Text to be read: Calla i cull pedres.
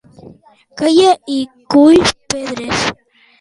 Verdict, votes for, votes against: accepted, 2, 1